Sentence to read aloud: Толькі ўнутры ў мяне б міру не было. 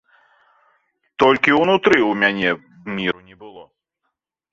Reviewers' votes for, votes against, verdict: 1, 2, rejected